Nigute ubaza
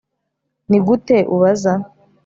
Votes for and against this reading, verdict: 3, 0, accepted